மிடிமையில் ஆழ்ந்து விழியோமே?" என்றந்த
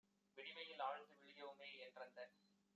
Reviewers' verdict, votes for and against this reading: accepted, 2, 0